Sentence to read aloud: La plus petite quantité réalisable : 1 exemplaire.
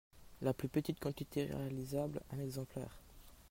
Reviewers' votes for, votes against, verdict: 0, 2, rejected